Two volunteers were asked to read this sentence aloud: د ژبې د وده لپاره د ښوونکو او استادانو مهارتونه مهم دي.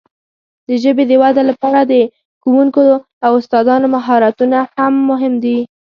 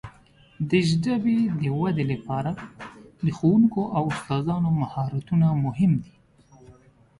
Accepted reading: second